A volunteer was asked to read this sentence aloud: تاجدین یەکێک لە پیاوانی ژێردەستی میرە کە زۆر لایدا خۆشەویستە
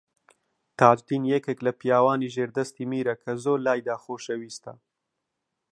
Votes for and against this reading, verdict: 2, 0, accepted